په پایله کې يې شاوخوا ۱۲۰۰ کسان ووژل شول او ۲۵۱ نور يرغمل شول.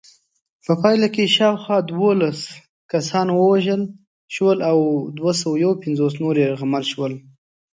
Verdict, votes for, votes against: rejected, 0, 2